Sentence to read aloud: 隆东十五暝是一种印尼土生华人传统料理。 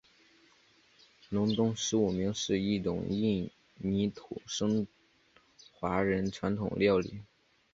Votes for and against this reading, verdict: 0, 2, rejected